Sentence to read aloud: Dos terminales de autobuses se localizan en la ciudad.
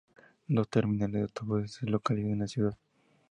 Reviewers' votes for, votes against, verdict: 2, 2, rejected